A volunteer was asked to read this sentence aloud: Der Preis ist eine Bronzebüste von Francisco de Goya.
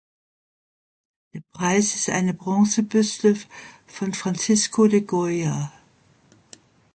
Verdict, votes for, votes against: rejected, 1, 2